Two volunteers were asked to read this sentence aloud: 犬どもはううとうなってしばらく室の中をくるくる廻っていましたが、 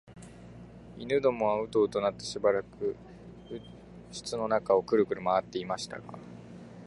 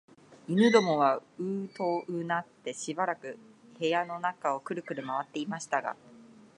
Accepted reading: first